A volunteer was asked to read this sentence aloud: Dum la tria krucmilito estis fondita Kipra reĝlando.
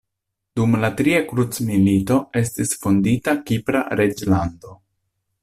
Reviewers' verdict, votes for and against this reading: accepted, 2, 0